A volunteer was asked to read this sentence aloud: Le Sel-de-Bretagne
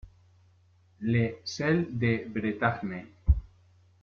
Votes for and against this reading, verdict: 1, 2, rejected